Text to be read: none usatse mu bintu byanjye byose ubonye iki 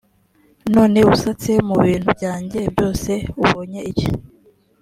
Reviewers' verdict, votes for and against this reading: accepted, 2, 0